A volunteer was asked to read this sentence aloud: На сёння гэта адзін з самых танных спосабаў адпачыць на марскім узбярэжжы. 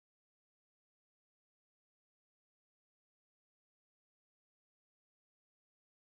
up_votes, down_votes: 0, 2